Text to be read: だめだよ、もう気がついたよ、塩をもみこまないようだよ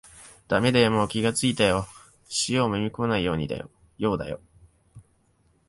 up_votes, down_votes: 1, 2